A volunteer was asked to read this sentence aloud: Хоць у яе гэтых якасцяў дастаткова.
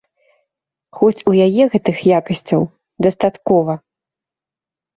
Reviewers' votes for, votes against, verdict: 3, 0, accepted